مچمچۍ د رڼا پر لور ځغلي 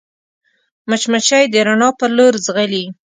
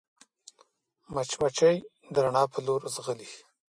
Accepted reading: first